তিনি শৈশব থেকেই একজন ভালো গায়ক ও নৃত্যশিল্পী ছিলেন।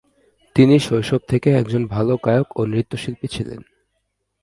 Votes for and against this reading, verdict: 0, 2, rejected